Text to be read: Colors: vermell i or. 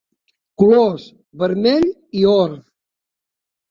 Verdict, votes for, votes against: accepted, 3, 0